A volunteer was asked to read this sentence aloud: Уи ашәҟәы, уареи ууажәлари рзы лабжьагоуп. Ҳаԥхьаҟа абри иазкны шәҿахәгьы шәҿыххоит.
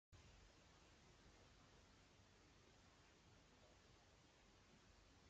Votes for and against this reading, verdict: 0, 2, rejected